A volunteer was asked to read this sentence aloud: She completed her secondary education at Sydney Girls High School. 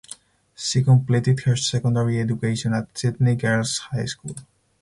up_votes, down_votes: 0, 4